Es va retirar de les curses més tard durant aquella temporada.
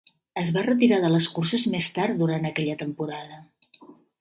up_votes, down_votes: 4, 1